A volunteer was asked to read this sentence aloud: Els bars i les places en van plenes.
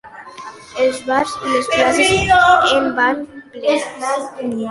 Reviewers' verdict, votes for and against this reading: rejected, 0, 2